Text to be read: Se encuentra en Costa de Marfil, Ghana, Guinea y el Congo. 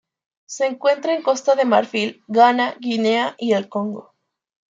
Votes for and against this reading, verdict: 2, 1, accepted